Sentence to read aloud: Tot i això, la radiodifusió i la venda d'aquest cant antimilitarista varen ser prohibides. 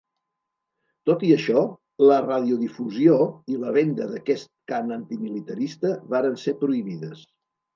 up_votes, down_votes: 2, 0